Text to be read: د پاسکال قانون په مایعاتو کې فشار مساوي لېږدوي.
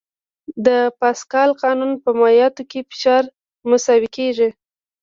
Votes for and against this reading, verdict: 0, 2, rejected